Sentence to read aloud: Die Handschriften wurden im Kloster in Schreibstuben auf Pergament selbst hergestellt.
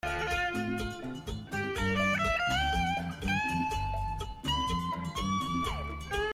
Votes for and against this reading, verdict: 0, 3, rejected